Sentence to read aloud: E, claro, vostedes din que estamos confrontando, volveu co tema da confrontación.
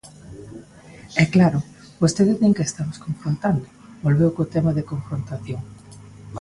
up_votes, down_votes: 2, 1